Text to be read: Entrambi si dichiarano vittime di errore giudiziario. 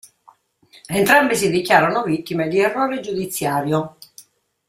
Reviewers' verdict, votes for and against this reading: accepted, 2, 0